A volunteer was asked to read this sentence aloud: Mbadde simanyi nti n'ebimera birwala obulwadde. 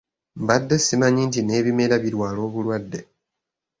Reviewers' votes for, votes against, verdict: 2, 0, accepted